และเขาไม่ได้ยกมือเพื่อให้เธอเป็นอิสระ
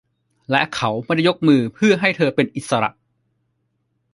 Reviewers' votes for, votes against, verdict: 2, 0, accepted